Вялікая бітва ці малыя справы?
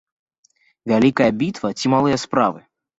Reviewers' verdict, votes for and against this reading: accepted, 2, 0